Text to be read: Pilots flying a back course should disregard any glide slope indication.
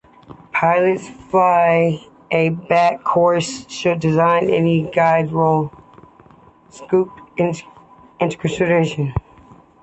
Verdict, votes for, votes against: rejected, 0, 2